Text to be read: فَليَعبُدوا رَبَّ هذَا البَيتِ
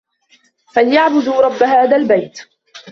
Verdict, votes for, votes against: accepted, 2, 1